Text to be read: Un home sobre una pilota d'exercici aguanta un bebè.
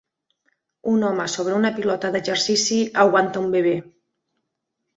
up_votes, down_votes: 1, 3